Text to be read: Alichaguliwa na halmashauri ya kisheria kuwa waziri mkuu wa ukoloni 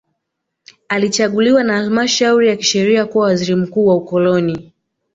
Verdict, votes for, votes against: accepted, 2, 1